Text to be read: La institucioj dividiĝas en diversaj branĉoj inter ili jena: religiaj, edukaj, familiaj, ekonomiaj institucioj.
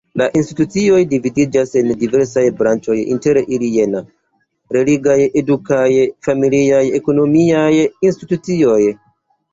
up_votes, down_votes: 2, 1